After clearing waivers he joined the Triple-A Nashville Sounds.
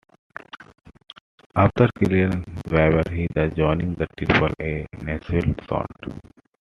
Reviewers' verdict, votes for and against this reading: rejected, 1, 2